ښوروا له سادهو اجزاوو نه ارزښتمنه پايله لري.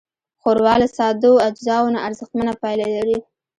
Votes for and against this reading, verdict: 1, 2, rejected